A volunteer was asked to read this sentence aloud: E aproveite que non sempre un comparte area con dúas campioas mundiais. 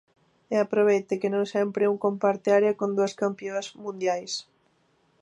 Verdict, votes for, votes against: rejected, 1, 2